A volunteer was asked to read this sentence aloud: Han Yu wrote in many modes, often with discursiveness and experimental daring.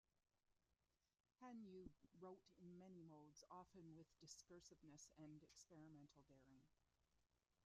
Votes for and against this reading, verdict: 1, 2, rejected